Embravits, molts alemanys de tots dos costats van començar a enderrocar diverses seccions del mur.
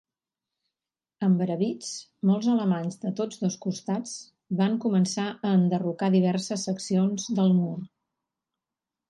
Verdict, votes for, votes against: accepted, 4, 0